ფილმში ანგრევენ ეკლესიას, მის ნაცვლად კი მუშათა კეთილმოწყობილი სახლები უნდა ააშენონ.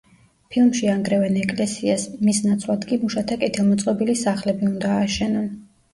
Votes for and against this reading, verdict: 2, 0, accepted